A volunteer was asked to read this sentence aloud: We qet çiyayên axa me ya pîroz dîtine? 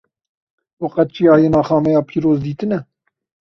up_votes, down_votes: 2, 0